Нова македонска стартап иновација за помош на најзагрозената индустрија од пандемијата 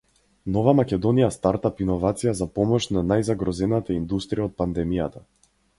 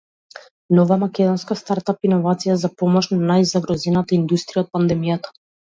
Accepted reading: second